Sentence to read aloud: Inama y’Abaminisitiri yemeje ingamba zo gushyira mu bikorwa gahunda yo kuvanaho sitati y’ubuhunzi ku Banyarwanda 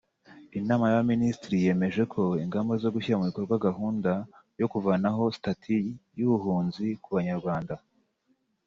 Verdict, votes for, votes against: rejected, 1, 2